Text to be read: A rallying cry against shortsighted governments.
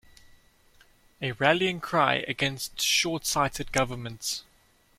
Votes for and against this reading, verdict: 2, 0, accepted